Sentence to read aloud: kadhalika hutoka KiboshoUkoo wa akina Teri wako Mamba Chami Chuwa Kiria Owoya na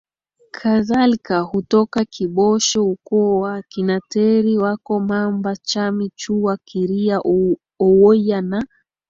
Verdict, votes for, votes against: accepted, 4, 2